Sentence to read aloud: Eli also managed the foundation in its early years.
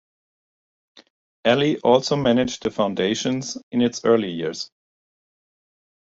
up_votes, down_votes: 1, 2